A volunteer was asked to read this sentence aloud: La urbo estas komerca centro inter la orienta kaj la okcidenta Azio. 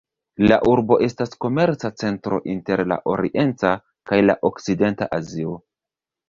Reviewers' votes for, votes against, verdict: 2, 0, accepted